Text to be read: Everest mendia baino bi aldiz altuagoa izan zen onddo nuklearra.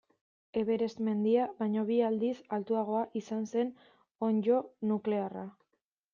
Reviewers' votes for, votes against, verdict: 2, 0, accepted